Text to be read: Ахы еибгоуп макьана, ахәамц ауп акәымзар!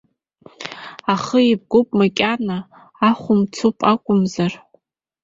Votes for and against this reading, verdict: 1, 2, rejected